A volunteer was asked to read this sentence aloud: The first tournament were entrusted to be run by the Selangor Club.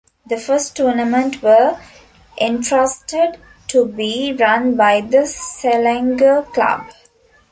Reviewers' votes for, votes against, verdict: 2, 0, accepted